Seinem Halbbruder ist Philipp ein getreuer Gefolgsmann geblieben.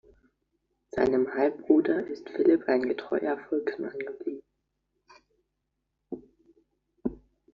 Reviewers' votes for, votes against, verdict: 0, 2, rejected